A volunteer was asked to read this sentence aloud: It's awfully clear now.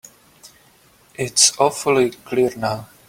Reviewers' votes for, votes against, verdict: 4, 0, accepted